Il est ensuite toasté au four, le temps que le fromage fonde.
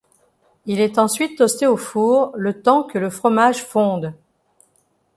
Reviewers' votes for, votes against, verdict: 2, 0, accepted